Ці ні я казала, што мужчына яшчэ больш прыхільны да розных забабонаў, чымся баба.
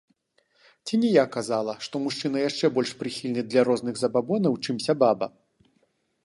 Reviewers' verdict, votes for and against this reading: rejected, 1, 2